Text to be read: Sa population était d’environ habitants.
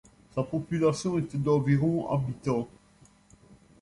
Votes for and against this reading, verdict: 2, 0, accepted